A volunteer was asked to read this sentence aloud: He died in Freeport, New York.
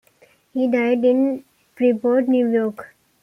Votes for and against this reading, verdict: 2, 0, accepted